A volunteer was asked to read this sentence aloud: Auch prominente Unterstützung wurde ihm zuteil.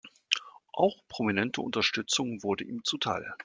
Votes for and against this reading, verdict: 3, 0, accepted